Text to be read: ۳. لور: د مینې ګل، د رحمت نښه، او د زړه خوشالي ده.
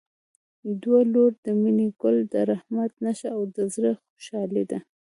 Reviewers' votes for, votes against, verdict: 0, 2, rejected